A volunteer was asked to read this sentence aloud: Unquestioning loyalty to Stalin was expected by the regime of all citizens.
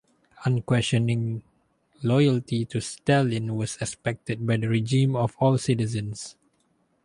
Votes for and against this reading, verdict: 2, 2, rejected